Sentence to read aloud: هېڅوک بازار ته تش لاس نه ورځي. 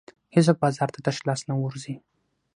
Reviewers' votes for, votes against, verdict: 6, 0, accepted